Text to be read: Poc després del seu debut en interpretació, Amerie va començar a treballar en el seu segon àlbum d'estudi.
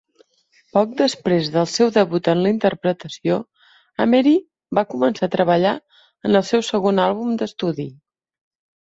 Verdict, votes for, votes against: rejected, 0, 2